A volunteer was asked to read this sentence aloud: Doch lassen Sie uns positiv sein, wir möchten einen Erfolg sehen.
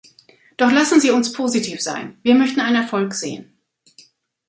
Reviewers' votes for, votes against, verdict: 1, 2, rejected